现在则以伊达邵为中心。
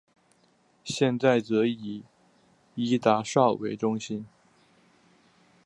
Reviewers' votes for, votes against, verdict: 2, 0, accepted